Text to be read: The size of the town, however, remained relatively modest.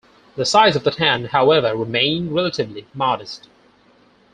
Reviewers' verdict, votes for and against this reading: accepted, 4, 0